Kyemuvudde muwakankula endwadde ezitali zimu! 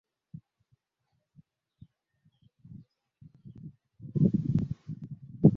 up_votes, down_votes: 0, 2